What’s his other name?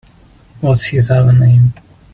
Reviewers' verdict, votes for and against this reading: rejected, 1, 2